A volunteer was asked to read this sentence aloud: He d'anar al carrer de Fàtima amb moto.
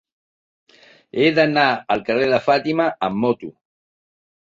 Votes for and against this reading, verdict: 3, 1, accepted